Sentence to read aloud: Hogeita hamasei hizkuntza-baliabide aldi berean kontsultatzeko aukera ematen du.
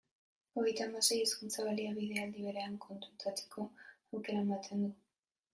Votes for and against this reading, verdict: 1, 2, rejected